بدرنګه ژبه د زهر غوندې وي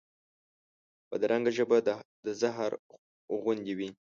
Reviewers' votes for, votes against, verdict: 0, 2, rejected